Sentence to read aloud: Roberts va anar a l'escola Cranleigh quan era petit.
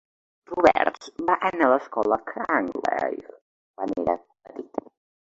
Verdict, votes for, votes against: accepted, 2, 0